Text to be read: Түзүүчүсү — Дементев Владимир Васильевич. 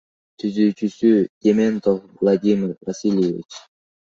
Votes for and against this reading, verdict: 2, 1, accepted